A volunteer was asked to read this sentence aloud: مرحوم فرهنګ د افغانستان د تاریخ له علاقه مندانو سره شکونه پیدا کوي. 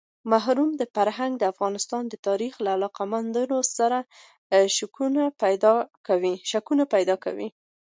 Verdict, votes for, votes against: accepted, 2, 0